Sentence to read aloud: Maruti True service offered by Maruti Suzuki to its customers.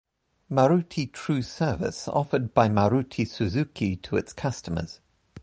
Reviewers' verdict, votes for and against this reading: accepted, 2, 0